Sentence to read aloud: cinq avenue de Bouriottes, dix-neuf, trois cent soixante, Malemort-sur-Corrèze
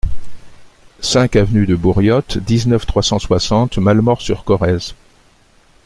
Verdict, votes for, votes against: accepted, 2, 0